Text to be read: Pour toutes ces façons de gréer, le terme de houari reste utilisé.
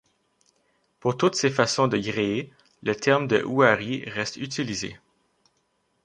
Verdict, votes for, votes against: rejected, 1, 2